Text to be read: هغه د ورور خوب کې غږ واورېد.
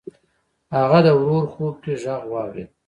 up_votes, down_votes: 0, 2